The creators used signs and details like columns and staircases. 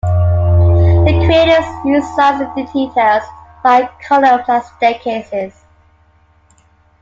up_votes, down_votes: 2, 4